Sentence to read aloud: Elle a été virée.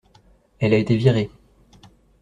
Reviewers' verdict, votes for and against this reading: accepted, 2, 0